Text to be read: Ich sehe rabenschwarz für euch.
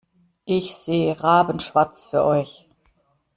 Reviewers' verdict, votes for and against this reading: accepted, 2, 0